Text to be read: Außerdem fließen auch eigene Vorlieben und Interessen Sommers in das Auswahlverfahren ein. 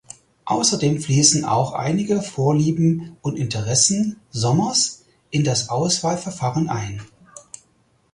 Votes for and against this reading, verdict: 0, 4, rejected